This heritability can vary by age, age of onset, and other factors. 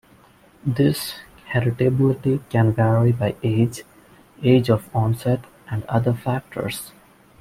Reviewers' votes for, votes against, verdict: 2, 0, accepted